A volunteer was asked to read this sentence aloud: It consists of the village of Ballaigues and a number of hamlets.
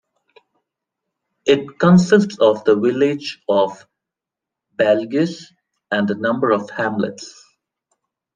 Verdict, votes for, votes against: rejected, 1, 2